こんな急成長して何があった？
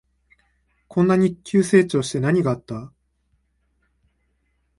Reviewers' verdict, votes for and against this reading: rejected, 1, 3